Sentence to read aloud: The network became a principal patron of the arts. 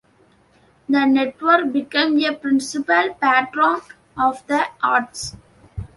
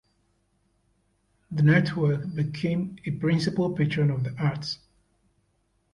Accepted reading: second